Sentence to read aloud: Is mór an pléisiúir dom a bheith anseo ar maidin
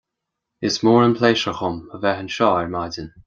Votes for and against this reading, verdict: 2, 0, accepted